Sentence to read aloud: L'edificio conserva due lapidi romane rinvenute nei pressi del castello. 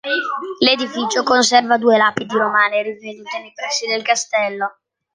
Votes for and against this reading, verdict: 2, 1, accepted